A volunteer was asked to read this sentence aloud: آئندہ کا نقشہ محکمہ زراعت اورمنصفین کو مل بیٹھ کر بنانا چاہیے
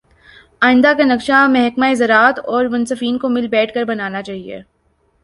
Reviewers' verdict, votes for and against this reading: accepted, 5, 0